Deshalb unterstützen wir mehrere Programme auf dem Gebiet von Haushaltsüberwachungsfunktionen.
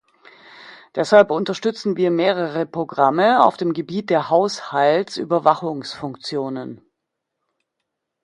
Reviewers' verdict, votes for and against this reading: rejected, 1, 2